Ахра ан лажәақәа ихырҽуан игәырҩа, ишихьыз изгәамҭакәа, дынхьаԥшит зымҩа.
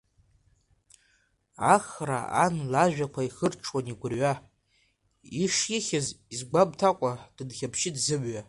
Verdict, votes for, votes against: accepted, 2, 1